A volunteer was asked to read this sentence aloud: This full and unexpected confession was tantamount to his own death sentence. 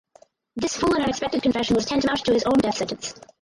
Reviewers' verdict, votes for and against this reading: rejected, 0, 4